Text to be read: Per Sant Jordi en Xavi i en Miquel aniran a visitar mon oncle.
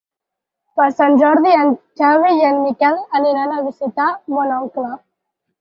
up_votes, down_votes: 4, 2